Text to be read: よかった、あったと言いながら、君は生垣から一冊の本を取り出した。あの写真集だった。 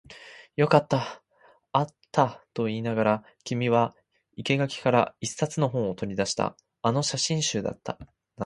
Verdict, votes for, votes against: accepted, 2, 0